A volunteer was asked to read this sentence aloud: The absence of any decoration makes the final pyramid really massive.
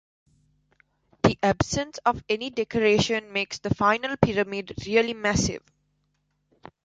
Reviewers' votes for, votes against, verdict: 2, 0, accepted